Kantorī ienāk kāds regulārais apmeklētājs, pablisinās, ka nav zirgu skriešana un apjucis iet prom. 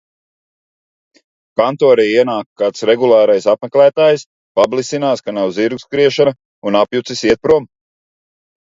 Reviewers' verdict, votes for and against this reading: accepted, 2, 0